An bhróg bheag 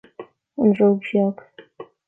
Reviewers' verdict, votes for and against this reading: rejected, 1, 2